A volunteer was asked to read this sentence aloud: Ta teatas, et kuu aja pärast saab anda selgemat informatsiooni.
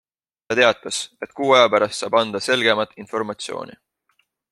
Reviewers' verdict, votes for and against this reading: accepted, 2, 0